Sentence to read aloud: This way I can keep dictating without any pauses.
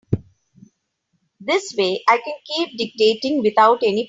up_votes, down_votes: 0, 2